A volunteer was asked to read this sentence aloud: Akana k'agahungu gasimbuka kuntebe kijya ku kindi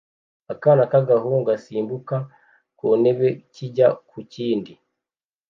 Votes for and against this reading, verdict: 2, 0, accepted